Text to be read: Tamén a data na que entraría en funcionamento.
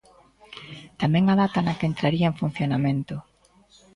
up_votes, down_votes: 2, 0